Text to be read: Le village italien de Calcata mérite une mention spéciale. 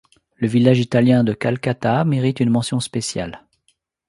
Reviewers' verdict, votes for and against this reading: accepted, 2, 0